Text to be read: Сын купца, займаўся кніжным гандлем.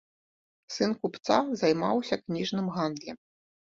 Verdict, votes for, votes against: rejected, 0, 2